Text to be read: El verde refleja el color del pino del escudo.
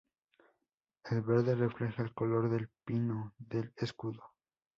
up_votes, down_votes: 2, 0